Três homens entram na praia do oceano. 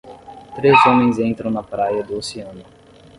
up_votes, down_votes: 10, 0